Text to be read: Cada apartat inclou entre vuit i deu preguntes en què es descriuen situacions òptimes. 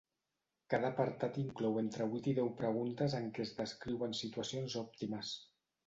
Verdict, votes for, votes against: accepted, 2, 0